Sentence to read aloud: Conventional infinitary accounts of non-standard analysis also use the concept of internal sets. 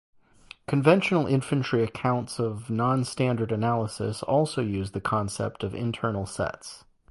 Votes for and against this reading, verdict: 0, 2, rejected